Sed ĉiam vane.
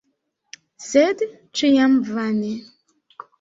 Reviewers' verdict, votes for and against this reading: accepted, 2, 0